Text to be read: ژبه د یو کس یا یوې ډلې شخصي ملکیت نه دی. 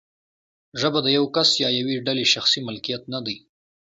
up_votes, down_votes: 2, 0